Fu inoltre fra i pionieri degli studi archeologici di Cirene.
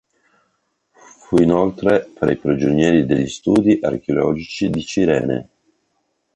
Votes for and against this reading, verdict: 0, 2, rejected